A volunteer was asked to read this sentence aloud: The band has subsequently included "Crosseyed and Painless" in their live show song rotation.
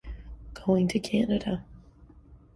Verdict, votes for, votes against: rejected, 0, 2